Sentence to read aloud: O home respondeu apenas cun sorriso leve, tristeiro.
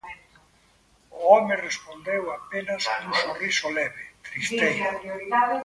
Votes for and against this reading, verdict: 0, 2, rejected